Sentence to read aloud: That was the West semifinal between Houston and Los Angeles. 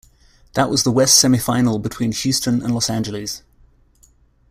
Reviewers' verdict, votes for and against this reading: accepted, 2, 0